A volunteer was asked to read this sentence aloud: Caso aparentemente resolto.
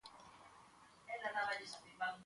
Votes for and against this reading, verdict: 0, 2, rejected